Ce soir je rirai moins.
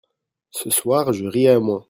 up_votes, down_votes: 1, 2